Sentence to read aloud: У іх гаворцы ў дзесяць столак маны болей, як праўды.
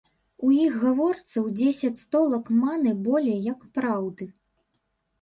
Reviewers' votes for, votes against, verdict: 1, 2, rejected